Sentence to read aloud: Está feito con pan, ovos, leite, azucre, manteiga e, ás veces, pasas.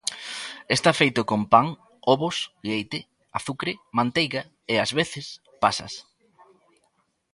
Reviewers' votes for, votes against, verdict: 2, 0, accepted